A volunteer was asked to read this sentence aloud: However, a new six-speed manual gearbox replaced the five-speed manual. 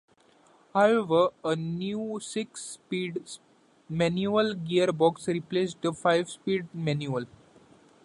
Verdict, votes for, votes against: rejected, 1, 2